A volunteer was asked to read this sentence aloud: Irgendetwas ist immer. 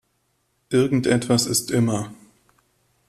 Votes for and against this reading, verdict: 2, 0, accepted